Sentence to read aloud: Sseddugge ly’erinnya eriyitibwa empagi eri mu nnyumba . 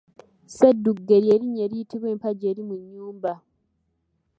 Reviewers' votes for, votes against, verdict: 0, 2, rejected